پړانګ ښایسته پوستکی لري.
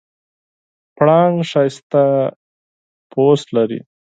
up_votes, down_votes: 0, 4